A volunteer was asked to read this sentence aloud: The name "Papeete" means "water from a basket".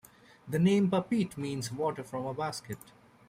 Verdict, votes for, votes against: rejected, 1, 2